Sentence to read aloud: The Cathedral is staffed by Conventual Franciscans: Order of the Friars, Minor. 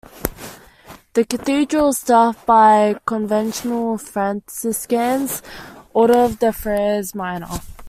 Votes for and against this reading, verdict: 1, 2, rejected